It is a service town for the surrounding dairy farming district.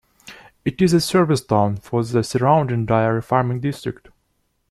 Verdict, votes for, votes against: accepted, 2, 1